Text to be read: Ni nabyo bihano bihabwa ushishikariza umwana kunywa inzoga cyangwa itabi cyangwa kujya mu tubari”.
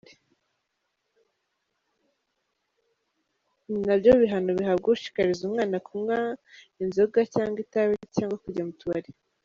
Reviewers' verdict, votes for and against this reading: rejected, 0, 2